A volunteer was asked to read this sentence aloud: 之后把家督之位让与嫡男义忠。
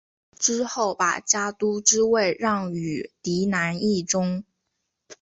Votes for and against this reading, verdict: 2, 0, accepted